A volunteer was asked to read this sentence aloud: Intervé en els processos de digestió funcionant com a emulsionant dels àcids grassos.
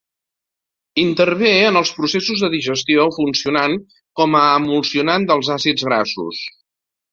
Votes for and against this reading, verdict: 2, 0, accepted